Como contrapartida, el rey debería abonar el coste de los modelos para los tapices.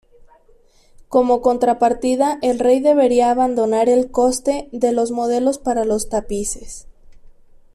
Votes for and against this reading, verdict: 2, 1, accepted